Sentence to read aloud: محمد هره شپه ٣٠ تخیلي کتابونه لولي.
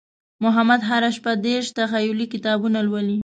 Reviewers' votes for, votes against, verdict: 0, 2, rejected